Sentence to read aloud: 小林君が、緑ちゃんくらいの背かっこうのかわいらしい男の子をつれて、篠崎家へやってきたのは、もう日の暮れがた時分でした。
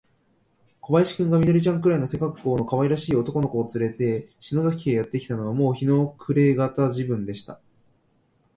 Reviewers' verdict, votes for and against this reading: accepted, 2, 0